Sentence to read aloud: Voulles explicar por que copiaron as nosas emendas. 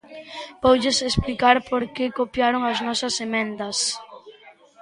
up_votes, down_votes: 1, 2